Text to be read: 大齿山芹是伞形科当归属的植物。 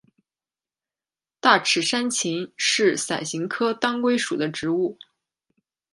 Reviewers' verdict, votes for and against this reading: accepted, 2, 0